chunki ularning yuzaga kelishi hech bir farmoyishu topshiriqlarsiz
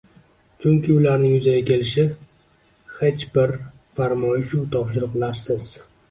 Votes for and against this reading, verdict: 1, 2, rejected